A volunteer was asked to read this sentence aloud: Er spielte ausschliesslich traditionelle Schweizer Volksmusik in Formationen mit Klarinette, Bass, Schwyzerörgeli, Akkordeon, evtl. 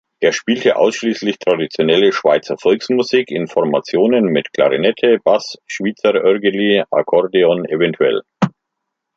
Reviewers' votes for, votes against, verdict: 2, 0, accepted